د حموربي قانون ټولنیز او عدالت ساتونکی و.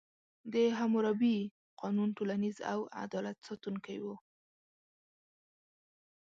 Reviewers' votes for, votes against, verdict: 2, 0, accepted